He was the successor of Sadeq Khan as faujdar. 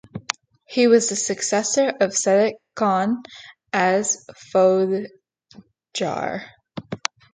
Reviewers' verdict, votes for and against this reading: rejected, 0, 2